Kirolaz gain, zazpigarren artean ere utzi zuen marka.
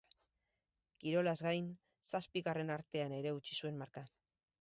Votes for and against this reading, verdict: 2, 0, accepted